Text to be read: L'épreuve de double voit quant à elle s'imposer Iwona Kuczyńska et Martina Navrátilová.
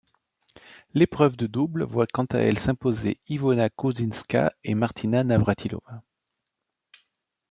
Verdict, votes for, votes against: accepted, 2, 0